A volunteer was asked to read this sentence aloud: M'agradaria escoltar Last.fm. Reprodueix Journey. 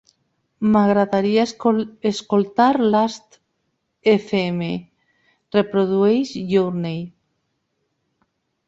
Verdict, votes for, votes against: accepted, 2, 1